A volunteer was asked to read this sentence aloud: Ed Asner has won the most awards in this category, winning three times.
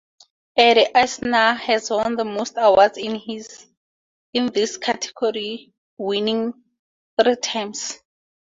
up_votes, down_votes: 2, 0